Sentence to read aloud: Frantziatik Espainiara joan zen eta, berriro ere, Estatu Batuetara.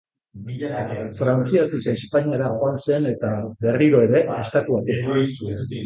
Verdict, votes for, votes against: rejected, 0, 3